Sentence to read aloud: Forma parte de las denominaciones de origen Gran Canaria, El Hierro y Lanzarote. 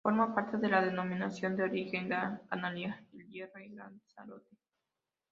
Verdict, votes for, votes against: rejected, 0, 2